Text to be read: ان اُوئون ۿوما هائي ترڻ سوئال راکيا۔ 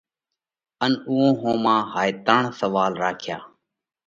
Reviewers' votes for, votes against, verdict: 2, 0, accepted